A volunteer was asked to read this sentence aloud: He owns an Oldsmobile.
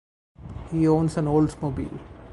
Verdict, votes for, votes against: accepted, 4, 0